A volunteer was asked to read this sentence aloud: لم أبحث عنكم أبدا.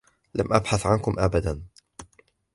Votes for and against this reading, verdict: 2, 0, accepted